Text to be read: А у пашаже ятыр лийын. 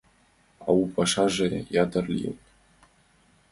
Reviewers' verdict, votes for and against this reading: accepted, 2, 0